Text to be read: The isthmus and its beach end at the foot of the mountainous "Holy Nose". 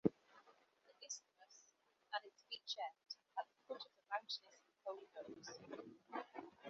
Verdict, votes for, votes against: rejected, 0, 2